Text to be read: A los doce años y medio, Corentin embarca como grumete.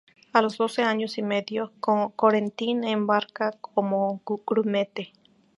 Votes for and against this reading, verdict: 2, 6, rejected